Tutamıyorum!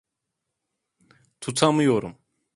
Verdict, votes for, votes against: accepted, 2, 0